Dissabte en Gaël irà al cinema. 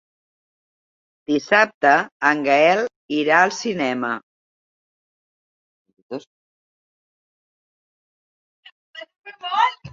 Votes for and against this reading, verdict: 1, 2, rejected